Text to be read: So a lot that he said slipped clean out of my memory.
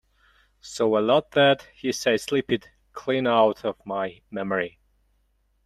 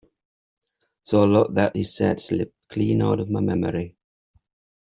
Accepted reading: second